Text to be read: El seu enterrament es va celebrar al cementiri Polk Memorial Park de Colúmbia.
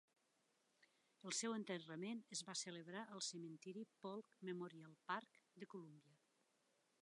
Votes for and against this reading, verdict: 0, 2, rejected